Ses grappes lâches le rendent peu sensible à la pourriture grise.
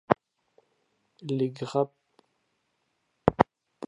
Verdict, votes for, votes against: rejected, 0, 2